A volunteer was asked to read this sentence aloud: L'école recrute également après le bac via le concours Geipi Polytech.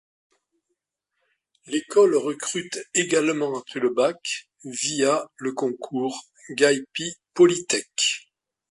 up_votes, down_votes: 2, 0